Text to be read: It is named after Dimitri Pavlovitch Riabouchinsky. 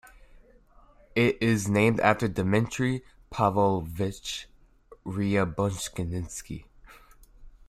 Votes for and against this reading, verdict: 0, 2, rejected